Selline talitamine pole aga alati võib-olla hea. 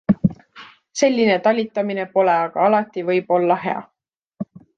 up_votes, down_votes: 2, 0